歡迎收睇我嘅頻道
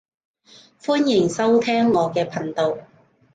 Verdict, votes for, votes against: rejected, 0, 2